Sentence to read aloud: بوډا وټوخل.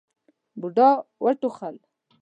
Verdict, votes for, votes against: accepted, 2, 0